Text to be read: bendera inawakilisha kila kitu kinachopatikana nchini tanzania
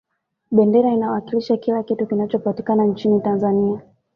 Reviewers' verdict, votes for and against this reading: accepted, 2, 0